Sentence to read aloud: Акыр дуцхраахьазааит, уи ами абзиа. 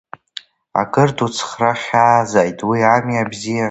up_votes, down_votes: 3, 2